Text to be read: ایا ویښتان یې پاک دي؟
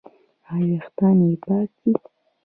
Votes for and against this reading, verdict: 2, 1, accepted